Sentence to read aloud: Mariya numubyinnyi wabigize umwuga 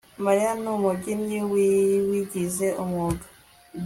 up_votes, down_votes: 2, 0